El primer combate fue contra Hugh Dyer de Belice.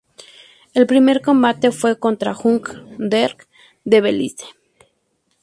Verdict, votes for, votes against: accepted, 2, 0